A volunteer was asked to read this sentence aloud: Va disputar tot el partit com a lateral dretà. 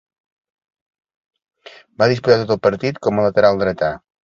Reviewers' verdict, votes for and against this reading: rejected, 1, 2